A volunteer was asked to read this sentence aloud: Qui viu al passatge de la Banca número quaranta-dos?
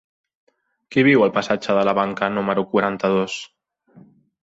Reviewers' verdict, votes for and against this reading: accepted, 3, 0